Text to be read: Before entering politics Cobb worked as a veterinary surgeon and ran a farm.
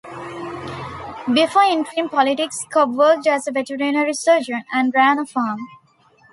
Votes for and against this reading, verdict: 2, 0, accepted